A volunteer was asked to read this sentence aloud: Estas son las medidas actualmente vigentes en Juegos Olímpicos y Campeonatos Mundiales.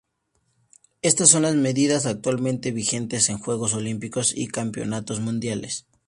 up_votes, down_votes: 2, 0